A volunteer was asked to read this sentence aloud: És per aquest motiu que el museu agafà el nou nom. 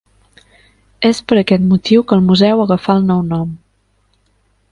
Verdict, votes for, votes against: accepted, 3, 0